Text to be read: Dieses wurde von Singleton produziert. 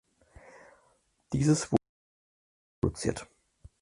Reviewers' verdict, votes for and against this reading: rejected, 0, 4